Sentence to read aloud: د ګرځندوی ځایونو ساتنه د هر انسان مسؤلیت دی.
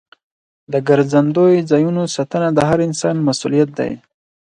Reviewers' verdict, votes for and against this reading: accepted, 4, 0